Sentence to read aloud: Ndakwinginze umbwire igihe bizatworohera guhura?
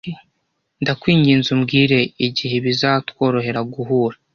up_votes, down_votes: 2, 0